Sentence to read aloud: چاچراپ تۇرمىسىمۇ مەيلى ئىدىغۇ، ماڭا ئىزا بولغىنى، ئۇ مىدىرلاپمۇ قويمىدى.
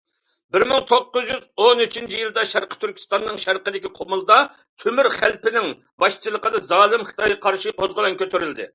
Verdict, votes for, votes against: rejected, 0, 2